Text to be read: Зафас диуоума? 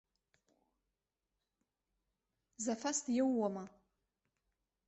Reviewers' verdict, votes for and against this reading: accepted, 2, 1